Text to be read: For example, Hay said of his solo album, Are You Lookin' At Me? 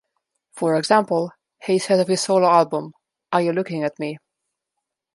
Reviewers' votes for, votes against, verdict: 1, 2, rejected